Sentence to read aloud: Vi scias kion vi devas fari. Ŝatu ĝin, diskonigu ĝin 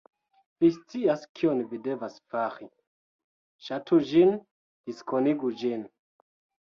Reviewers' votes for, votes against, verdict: 2, 0, accepted